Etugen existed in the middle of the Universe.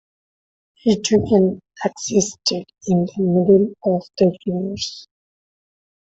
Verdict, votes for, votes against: rejected, 0, 2